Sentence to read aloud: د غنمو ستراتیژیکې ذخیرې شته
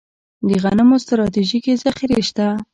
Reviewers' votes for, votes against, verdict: 1, 2, rejected